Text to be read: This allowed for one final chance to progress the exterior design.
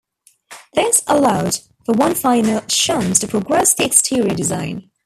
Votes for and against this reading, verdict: 1, 2, rejected